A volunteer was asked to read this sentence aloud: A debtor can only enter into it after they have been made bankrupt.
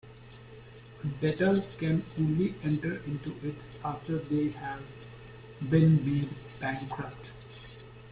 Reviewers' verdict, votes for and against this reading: rejected, 1, 2